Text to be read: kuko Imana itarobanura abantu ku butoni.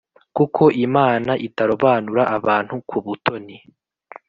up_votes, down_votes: 2, 0